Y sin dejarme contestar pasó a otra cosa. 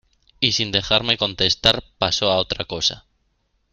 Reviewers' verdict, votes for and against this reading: accepted, 2, 0